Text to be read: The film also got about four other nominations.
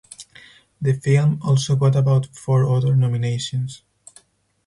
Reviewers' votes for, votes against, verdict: 2, 2, rejected